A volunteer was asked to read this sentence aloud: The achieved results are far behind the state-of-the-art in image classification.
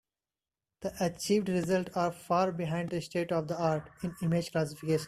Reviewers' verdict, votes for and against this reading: rejected, 0, 2